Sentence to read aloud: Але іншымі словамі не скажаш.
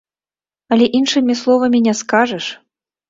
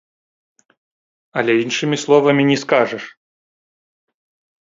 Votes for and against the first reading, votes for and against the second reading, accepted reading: 2, 0, 1, 2, first